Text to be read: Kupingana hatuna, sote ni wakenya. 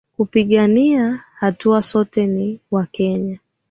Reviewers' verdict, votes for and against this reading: accepted, 2, 1